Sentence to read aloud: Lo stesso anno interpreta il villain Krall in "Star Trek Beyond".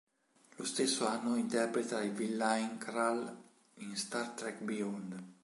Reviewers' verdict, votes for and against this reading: accepted, 2, 0